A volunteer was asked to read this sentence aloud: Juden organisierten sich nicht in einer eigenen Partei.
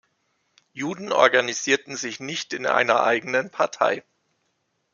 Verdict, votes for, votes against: accepted, 2, 0